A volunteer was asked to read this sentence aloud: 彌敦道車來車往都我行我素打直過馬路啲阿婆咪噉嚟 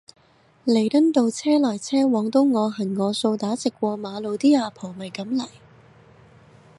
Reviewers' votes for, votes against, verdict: 2, 0, accepted